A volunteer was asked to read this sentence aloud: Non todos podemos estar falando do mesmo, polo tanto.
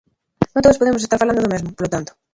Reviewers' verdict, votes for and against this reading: rejected, 0, 3